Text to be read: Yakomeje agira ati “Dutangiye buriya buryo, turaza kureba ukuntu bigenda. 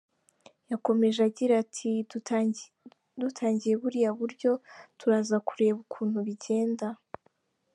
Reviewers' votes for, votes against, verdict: 0, 2, rejected